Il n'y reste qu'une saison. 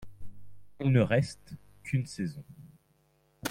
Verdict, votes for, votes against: accepted, 2, 0